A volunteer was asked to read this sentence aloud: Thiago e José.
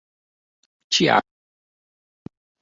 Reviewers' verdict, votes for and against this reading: rejected, 0, 2